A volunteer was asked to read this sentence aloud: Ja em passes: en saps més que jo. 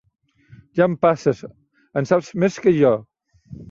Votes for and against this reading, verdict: 3, 1, accepted